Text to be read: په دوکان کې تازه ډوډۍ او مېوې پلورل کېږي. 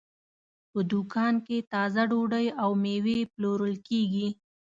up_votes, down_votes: 2, 0